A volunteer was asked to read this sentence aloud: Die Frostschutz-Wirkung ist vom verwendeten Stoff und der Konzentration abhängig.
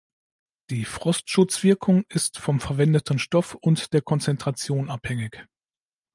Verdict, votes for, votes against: accepted, 2, 0